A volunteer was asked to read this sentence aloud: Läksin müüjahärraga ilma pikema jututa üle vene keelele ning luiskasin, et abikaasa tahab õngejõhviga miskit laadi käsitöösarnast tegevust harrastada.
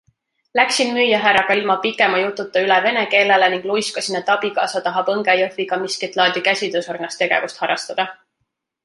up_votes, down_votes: 2, 0